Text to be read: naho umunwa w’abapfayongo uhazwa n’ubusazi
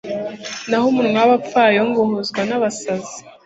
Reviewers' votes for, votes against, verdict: 2, 0, accepted